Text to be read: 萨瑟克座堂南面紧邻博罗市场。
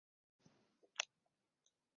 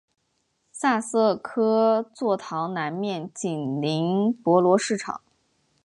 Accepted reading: second